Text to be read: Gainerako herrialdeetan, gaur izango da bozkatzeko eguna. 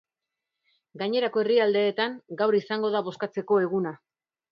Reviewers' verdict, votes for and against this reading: accepted, 2, 0